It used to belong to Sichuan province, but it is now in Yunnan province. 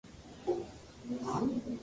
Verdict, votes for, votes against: rejected, 0, 2